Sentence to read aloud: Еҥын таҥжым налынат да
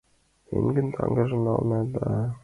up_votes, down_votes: 0, 2